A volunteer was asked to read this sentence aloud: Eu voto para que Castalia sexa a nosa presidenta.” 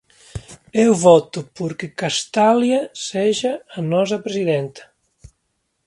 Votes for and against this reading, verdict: 1, 2, rejected